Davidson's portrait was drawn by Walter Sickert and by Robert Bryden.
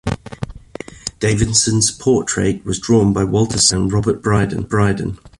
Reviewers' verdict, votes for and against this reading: rejected, 1, 2